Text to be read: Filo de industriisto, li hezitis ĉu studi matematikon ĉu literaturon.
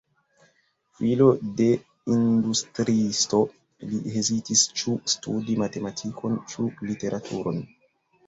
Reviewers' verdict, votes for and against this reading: accepted, 2, 1